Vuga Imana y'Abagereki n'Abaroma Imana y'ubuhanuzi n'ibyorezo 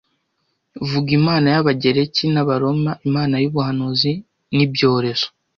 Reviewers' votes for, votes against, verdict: 2, 0, accepted